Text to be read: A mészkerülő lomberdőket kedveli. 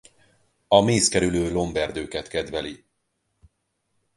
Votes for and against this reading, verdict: 4, 0, accepted